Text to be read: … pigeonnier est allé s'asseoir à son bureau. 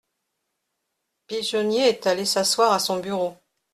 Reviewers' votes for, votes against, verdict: 2, 0, accepted